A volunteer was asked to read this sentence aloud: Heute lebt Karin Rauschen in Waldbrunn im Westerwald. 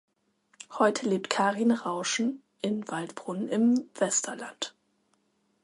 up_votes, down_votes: 0, 2